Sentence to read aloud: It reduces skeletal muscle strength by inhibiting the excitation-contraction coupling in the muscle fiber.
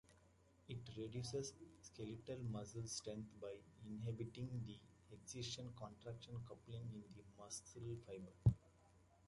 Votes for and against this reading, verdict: 0, 2, rejected